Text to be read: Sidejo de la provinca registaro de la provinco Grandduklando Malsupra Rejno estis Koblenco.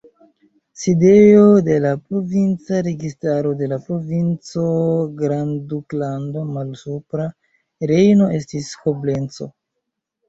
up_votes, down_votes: 0, 3